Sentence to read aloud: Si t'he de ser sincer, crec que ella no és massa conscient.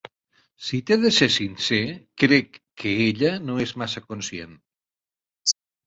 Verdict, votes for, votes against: accepted, 6, 0